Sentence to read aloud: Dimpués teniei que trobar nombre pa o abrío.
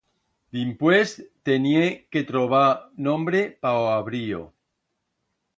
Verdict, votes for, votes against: rejected, 1, 2